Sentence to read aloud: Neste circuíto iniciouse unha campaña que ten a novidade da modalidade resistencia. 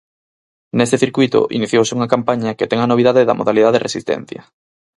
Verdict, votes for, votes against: accepted, 6, 4